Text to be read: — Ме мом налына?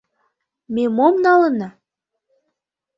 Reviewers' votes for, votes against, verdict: 2, 0, accepted